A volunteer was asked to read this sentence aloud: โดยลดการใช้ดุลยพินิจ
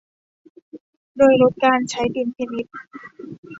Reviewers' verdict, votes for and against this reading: rejected, 0, 2